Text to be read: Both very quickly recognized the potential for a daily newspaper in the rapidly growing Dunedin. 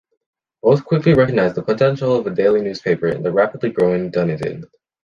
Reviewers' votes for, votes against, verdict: 0, 2, rejected